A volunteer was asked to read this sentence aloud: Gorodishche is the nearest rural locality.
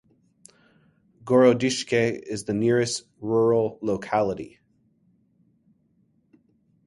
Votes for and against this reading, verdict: 3, 0, accepted